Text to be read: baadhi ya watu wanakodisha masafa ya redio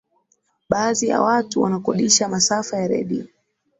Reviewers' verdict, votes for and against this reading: accepted, 2, 0